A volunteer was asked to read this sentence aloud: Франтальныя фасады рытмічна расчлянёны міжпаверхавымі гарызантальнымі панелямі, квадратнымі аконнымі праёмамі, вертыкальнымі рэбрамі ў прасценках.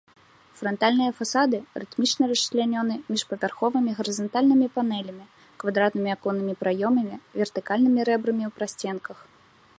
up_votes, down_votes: 1, 2